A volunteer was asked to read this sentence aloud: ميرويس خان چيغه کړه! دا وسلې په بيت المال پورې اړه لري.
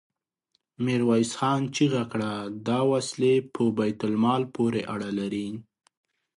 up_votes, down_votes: 2, 0